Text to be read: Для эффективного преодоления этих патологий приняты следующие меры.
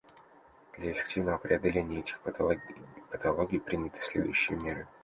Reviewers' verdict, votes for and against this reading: rejected, 0, 2